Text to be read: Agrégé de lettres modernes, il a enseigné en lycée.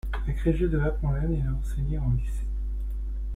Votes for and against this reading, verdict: 1, 2, rejected